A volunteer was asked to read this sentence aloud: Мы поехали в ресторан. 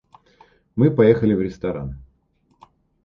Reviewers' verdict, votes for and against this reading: accepted, 2, 1